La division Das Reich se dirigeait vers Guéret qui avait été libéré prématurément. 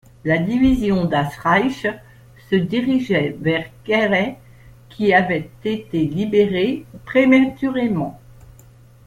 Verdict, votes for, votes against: accepted, 2, 0